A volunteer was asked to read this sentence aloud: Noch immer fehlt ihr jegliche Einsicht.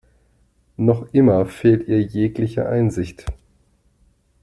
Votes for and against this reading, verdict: 2, 0, accepted